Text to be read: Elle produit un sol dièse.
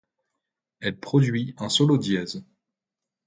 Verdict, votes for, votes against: rejected, 0, 2